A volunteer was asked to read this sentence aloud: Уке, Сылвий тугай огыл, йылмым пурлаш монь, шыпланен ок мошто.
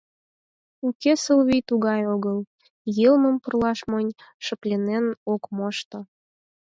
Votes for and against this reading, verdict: 4, 2, accepted